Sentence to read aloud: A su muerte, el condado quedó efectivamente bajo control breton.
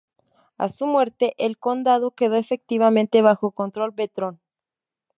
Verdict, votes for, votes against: rejected, 0, 2